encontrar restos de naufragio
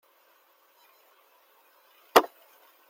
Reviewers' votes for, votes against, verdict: 0, 2, rejected